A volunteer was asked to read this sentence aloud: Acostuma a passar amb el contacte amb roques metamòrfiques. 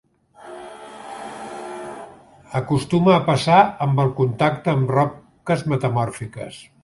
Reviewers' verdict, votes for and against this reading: rejected, 0, 2